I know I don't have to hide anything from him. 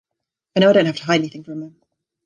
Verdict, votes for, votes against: rejected, 2, 2